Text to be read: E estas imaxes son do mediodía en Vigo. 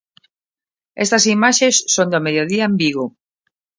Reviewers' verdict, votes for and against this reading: rejected, 0, 2